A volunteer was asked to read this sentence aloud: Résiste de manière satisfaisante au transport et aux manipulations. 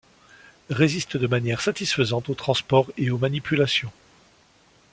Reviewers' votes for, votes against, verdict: 2, 0, accepted